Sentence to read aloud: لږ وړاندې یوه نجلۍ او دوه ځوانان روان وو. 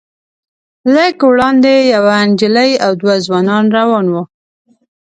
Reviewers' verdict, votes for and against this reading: accepted, 2, 0